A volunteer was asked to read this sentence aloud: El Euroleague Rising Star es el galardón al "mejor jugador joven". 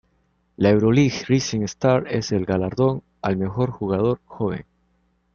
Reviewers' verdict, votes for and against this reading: rejected, 0, 2